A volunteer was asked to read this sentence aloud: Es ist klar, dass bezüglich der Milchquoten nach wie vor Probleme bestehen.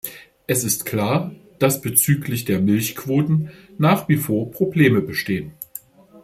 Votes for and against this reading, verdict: 2, 0, accepted